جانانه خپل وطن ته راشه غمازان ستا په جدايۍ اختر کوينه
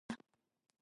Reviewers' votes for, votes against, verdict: 1, 2, rejected